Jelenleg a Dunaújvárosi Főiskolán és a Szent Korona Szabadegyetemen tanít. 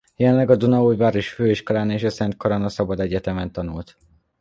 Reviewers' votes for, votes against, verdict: 0, 2, rejected